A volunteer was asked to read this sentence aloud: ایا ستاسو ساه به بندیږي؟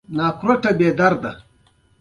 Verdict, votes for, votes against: accepted, 2, 0